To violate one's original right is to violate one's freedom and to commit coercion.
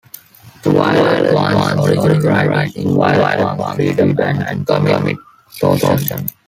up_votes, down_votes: 0, 2